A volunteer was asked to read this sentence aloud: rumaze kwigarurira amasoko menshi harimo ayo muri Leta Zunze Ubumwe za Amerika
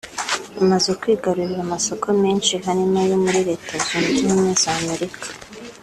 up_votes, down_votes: 3, 0